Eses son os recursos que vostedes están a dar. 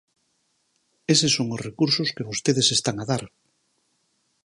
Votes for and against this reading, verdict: 4, 0, accepted